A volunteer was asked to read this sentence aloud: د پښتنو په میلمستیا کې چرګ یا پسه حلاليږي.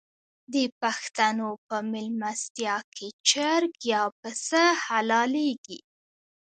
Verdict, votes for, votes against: accepted, 2, 1